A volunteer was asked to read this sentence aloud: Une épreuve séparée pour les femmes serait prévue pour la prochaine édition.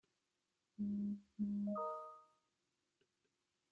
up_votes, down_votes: 0, 2